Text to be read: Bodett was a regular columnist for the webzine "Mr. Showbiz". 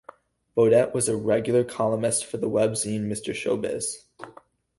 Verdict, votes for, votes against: rejected, 0, 2